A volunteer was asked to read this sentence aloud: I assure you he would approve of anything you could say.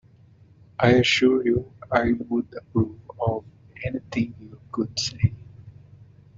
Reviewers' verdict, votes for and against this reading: rejected, 0, 2